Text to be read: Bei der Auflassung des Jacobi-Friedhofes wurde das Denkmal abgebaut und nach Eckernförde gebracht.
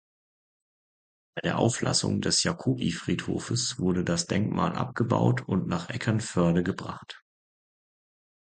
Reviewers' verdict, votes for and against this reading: accepted, 2, 0